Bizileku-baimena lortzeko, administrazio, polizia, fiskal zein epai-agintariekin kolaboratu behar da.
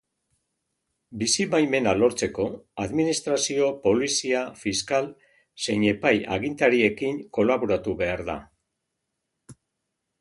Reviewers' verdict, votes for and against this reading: rejected, 1, 2